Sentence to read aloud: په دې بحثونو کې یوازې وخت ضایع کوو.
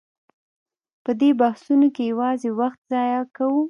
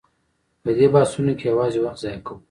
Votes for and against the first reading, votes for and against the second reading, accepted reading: 0, 2, 2, 1, second